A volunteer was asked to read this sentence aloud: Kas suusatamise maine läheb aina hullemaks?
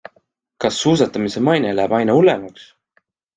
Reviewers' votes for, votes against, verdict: 2, 0, accepted